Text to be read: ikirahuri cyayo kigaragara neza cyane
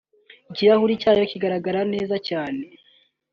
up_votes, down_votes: 2, 0